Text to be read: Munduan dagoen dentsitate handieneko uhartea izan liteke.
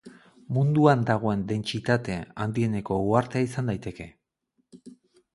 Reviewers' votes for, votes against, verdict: 2, 4, rejected